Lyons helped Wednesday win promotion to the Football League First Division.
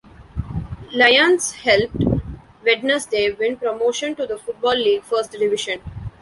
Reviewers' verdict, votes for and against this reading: rejected, 1, 2